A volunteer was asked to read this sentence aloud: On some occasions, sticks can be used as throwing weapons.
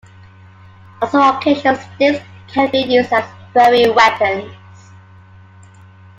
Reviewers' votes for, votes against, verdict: 2, 0, accepted